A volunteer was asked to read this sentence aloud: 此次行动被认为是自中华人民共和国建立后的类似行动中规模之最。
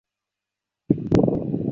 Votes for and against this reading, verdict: 1, 2, rejected